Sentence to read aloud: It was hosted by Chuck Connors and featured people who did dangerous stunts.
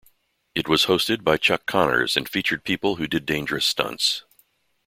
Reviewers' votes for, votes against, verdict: 2, 0, accepted